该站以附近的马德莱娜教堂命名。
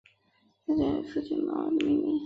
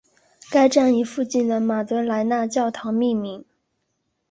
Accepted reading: second